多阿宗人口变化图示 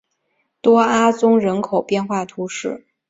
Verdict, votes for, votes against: accepted, 3, 0